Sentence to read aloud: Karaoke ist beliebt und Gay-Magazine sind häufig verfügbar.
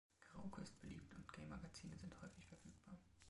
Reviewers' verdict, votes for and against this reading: rejected, 0, 2